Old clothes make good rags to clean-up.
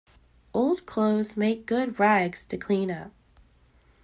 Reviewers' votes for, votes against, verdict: 2, 0, accepted